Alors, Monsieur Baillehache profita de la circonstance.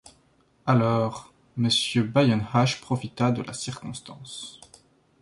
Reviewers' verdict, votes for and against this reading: rejected, 0, 2